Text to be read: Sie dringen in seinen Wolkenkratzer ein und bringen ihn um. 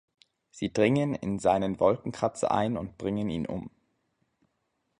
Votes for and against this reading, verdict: 2, 0, accepted